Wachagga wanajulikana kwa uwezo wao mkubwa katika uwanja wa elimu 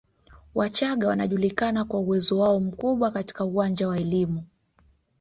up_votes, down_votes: 3, 0